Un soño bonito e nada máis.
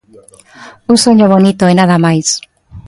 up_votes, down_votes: 2, 0